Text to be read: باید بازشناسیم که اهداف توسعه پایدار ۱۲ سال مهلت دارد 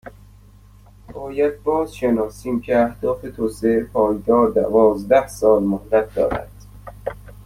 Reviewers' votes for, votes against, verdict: 0, 2, rejected